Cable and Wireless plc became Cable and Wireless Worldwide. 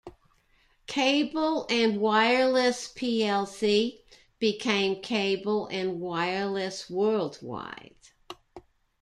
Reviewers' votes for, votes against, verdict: 2, 0, accepted